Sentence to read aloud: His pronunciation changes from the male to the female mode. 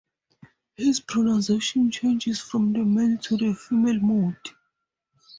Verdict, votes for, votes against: accepted, 4, 2